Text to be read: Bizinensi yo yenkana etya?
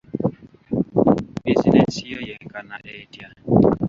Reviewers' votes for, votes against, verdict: 0, 2, rejected